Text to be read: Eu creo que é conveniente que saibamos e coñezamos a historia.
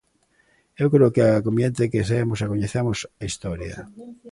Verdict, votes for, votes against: rejected, 0, 3